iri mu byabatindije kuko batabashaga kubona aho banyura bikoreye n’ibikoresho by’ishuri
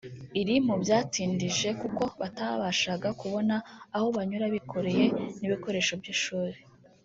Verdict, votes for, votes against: rejected, 0, 2